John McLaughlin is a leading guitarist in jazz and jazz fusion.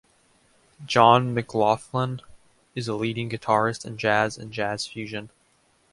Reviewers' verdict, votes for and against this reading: accepted, 2, 0